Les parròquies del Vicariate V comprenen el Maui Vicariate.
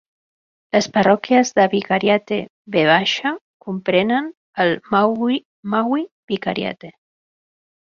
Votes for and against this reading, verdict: 0, 2, rejected